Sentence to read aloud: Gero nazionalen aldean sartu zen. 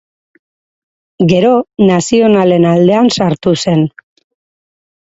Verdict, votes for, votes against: rejected, 0, 2